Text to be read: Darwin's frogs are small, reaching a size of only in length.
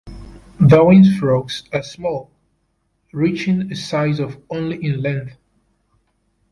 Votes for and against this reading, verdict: 2, 0, accepted